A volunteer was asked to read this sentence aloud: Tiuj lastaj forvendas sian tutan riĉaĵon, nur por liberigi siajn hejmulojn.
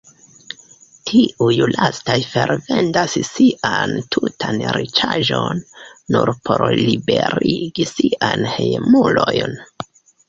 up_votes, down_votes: 1, 2